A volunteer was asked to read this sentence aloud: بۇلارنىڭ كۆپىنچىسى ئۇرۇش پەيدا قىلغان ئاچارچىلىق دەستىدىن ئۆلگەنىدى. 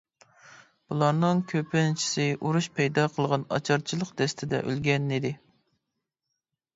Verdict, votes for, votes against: rejected, 1, 2